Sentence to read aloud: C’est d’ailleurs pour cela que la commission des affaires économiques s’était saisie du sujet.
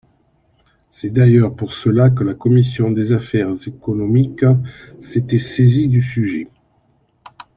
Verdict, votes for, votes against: accepted, 2, 0